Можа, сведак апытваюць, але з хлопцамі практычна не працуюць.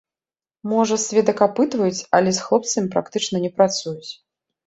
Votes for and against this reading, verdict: 2, 0, accepted